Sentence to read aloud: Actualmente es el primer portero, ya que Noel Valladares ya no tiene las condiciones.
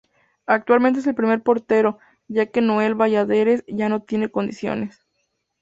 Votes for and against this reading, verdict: 0, 2, rejected